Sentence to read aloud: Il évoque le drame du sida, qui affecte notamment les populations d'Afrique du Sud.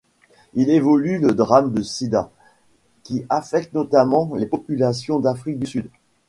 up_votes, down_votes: 1, 2